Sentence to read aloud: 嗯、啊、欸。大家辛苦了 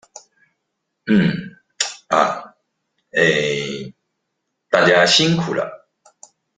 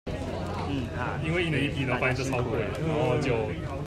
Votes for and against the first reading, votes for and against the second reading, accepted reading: 2, 0, 0, 2, first